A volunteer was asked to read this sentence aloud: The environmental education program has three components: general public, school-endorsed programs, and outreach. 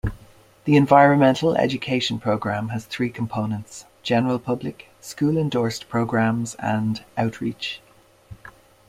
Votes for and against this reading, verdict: 2, 0, accepted